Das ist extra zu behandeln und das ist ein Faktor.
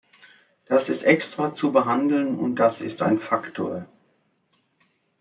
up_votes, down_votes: 2, 0